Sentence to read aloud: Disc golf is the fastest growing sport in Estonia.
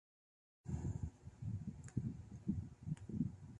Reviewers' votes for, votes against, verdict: 0, 2, rejected